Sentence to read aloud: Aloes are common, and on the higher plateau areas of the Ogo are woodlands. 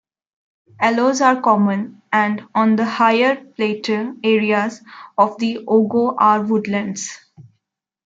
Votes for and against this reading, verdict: 0, 2, rejected